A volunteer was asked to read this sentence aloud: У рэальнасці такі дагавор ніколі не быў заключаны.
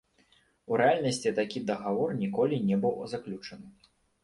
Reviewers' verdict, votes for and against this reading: accepted, 2, 0